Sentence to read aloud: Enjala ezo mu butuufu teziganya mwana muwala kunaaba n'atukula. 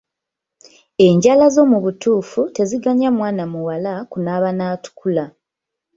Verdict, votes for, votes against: rejected, 0, 2